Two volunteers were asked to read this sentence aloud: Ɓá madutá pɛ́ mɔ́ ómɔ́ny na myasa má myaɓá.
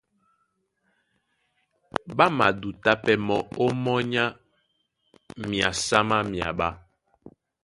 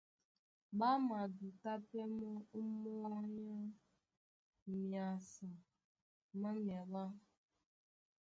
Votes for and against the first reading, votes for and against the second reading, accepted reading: 2, 0, 1, 2, first